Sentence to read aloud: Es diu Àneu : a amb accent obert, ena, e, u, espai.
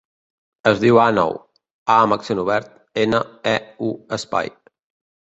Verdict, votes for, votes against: rejected, 1, 2